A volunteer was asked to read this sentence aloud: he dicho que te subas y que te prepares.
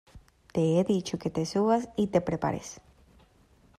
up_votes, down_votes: 1, 2